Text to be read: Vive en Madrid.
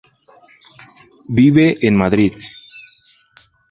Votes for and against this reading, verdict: 2, 0, accepted